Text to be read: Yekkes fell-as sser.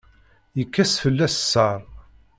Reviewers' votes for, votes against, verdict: 0, 2, rejected